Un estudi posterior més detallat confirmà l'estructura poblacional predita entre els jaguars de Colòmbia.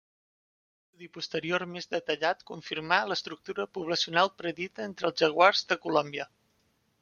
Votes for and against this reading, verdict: 0, 2, rejected